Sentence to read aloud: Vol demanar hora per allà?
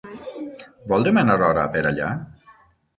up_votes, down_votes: 0, 9